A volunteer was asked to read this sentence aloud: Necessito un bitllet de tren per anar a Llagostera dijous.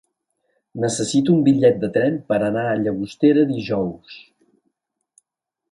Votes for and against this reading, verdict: 2, 0, accepted